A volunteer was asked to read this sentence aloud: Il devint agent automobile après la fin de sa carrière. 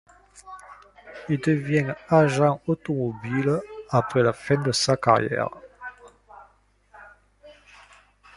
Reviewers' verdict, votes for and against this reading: accepted, 2, 0